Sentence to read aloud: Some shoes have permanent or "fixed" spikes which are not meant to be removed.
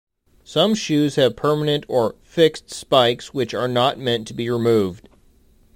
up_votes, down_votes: 2, 0